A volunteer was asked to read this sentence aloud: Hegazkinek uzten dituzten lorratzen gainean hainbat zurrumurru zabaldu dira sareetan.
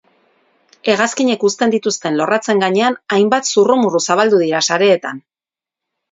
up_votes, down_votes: 4, 0